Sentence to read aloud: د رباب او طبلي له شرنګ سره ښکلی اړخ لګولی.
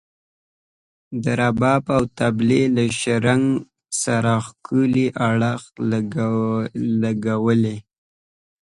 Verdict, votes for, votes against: rejected, 1, 2